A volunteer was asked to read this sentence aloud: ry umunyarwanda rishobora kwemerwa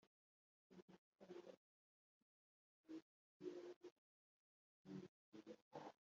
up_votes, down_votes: 0, 3